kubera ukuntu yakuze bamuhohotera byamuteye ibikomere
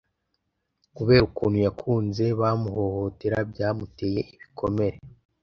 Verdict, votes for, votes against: rejected, 1, 2